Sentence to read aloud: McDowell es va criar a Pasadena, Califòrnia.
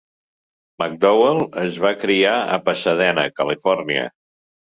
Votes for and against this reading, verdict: 3, 0, accepted